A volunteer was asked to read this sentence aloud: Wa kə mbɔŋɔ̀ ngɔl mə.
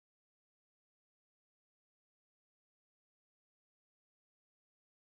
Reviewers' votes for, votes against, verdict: 0, 2, rejected